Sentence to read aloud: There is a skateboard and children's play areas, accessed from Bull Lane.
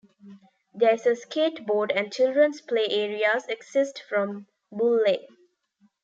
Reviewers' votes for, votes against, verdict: 2, 1, accepted